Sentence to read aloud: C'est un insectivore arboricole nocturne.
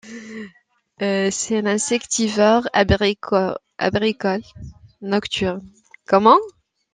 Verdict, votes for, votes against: rejected, 0, 2